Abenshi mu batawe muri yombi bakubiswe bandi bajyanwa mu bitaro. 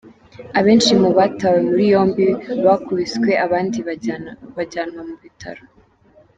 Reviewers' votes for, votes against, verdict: 0, 2, rejected